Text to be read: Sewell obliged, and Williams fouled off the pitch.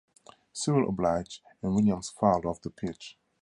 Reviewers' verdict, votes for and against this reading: accepted, 4, 0